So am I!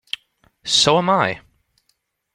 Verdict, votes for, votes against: rejected, 1, 2